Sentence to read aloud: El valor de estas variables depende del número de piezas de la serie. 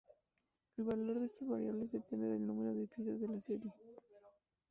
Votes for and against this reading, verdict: 0, 2, rejected